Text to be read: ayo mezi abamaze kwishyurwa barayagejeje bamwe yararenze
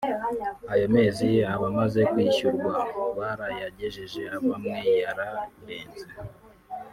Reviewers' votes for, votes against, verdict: 0, 2, rejected